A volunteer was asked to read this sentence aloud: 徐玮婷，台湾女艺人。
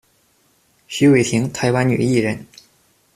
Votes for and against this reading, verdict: 2, 0, accepted